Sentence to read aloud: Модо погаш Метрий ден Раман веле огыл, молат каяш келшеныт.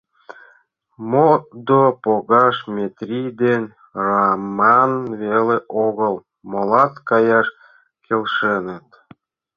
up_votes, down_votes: 1, 2